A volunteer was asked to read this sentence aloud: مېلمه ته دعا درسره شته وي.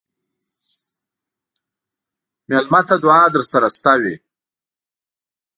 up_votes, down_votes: 2, 1